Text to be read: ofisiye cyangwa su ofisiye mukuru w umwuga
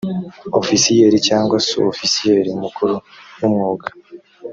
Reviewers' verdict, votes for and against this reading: rejected, 0, 2